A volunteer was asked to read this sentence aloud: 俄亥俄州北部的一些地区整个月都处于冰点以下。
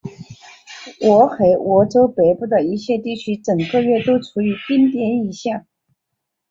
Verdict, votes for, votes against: rejected, 0, 2